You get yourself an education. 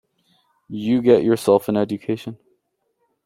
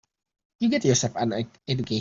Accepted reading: first